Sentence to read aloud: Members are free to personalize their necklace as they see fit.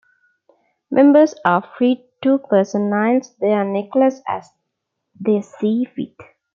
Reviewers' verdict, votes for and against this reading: accepted, 2, 0